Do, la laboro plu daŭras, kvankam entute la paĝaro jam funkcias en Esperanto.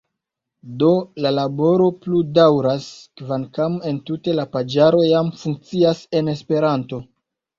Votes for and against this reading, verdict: 0, 2, rejected